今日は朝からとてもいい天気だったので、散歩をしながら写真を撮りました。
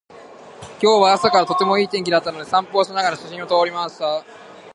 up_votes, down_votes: 1, 2